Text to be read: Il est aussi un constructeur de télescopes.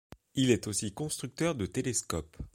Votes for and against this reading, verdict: 2, 0, accepted